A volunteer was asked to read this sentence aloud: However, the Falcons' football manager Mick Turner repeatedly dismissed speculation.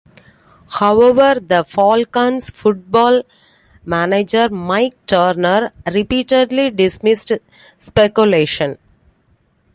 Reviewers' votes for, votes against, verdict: 0, 2, rejected